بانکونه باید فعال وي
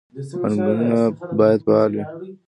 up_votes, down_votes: 0, 2